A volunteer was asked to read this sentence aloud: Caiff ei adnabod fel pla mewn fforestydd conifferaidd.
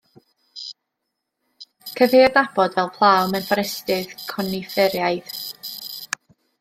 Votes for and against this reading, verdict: 1, 2, rejected